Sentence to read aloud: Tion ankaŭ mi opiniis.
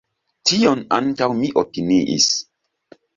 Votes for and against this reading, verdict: 1, 3, rejected